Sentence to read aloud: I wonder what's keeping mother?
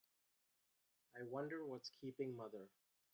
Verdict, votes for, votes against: accepted, 2, 1